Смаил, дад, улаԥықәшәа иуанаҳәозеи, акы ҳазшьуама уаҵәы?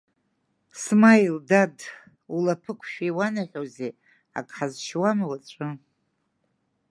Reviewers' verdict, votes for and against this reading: accepted, 2, 0